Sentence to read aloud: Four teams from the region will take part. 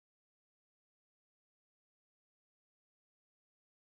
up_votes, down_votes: 0, 2